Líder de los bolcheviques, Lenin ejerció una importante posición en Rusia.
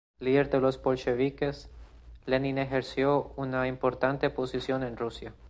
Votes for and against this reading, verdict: 2, 0, accepted